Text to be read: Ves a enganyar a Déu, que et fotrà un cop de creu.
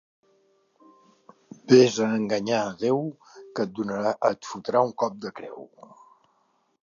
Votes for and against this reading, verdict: 1, 3, rejected